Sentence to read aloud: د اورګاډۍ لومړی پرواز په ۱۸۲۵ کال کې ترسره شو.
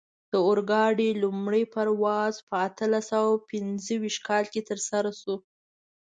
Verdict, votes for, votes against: rejected, 0, 2